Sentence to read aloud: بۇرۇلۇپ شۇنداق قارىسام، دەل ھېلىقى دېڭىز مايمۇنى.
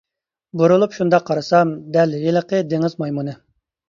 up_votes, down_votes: 2, 0